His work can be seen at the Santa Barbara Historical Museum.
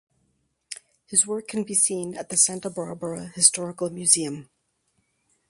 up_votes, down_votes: 4, 2